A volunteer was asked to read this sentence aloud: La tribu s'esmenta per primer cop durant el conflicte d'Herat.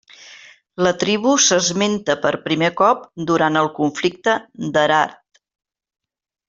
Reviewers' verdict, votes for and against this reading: accepted, 2, 0